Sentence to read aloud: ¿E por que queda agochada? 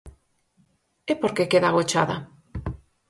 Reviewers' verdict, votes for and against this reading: accepted, 4, 0